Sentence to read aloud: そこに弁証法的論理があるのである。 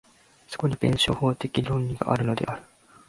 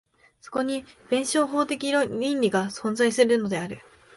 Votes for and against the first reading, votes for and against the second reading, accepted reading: 1, 2, 2, 1, second